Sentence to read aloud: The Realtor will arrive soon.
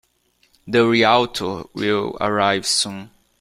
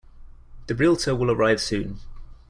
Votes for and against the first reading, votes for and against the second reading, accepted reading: 2, 0, 1, 2, first